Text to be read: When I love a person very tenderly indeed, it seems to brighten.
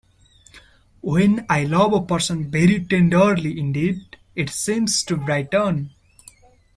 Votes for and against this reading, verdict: 2, 1, accepted